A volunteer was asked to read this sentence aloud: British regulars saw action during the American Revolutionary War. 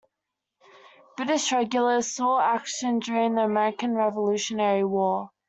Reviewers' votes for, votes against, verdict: 2, 0, accepted